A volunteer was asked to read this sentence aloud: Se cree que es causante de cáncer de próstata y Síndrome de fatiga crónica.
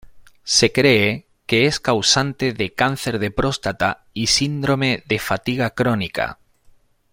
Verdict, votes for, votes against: accepted, 2, 0